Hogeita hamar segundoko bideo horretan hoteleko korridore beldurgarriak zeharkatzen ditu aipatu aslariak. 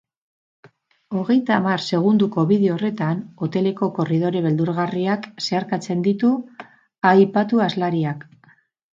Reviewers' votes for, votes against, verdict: 4, 0, accepted